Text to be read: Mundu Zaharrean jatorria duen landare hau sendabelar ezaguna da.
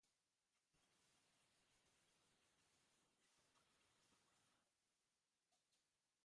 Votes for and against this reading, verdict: 0, 2, rejected